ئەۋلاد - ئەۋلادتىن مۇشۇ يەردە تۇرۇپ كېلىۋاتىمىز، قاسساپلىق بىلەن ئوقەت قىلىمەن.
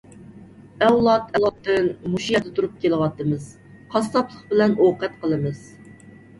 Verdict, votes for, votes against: rejected, 1, 2